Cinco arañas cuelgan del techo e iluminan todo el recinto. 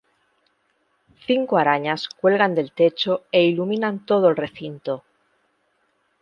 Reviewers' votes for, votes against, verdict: 2, 0, accepted